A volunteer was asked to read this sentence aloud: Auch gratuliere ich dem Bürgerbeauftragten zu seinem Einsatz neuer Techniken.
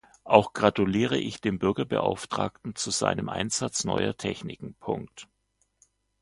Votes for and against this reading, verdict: 1, 2, rejected